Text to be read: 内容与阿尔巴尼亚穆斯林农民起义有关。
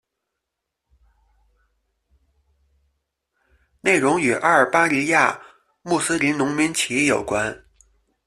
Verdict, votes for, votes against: rejected, 0, 2